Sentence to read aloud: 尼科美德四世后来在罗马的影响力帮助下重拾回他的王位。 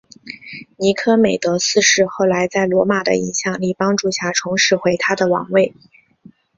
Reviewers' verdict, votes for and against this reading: accepted, 2, 1